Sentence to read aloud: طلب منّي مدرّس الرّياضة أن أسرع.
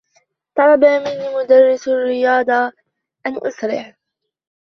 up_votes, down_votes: 2, 0